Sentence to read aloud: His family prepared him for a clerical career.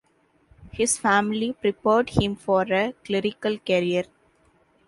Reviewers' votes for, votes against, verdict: 2, 0, accepted